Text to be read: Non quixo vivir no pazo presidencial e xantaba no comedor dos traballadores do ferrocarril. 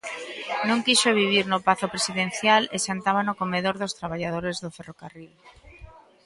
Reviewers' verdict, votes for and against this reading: accepted, 2, 0